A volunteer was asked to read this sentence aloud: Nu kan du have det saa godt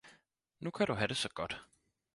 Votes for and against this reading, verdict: 4, 0, accepted